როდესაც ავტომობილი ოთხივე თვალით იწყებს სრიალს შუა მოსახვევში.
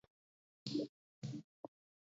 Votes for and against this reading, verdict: 2, 1, accepted